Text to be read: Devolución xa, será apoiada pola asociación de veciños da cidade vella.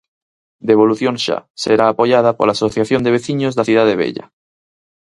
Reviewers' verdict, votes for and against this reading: accepted, 6, 0